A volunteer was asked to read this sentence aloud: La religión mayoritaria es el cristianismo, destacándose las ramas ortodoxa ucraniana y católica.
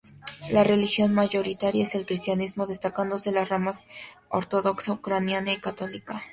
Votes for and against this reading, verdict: 2, 0, accepted